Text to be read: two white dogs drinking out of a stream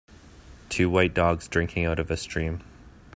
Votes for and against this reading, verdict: 3, 0, accepted